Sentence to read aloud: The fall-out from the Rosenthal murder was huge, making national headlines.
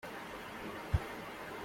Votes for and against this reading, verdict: 0, 2, rejected